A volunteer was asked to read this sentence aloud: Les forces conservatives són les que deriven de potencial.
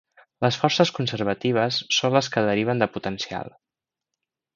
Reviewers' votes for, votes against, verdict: 3, 0, accepted